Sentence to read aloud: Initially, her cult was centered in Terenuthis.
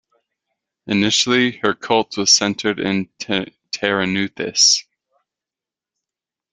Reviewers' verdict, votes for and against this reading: rejected, 0, 2